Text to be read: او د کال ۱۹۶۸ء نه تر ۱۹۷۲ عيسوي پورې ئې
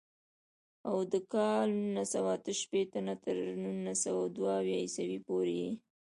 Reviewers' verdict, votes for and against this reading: rejected, 0, 2